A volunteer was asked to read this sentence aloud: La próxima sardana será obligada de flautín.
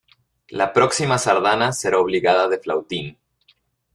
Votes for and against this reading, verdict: 2, 0, accepted